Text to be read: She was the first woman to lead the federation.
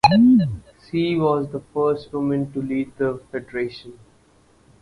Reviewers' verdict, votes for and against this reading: accepted, 4, 2